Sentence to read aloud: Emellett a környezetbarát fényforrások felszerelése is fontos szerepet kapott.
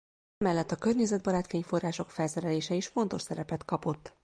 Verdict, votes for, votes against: rejected, 0, 2